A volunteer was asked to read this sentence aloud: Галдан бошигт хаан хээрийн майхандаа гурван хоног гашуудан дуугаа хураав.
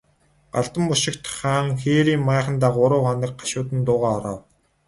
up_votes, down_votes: 12, 0